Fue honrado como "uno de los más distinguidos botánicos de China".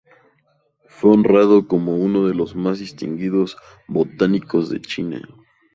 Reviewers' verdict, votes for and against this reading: accepted, 2, 0